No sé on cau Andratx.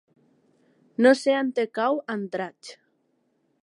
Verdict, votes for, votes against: rejected, 2, 3